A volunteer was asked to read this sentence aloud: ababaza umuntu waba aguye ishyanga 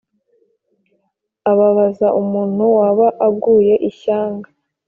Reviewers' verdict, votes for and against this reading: accepted, 2, 0